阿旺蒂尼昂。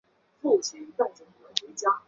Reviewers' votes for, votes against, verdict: 0, 3, rejected